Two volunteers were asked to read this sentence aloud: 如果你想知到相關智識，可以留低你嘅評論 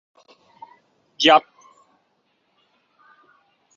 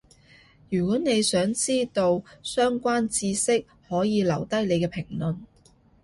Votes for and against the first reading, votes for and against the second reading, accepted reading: 0, 2, 2, 0, second